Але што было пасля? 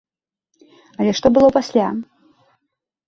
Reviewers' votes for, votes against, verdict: 2, 0, accepted